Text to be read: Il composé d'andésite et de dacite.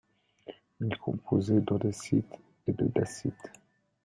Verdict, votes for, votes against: accepted, 2, 1